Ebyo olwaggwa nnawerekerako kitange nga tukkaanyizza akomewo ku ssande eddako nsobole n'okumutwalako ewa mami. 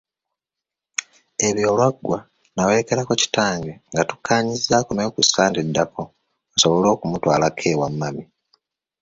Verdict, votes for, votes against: rejected, 1, 2